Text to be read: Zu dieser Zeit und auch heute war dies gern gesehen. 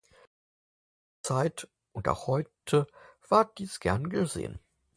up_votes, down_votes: 0, 4